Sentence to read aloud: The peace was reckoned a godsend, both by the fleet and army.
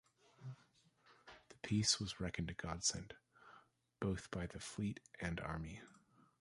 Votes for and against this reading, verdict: 2, 1, accepted